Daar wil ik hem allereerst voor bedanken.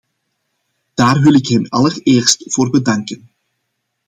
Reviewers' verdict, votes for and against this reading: accepted, 2, 0